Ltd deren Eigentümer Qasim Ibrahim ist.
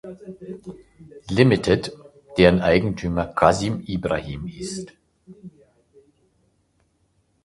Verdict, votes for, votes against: rejected, 1, 2